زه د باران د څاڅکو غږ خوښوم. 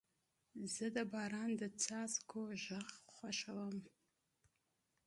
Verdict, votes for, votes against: rejected, 0, 2